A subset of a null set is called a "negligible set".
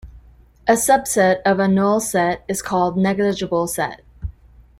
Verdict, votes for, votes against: rejected, 0, 2